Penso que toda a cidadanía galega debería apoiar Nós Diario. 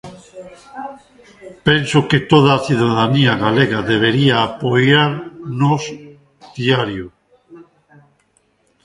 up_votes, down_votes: 1, 2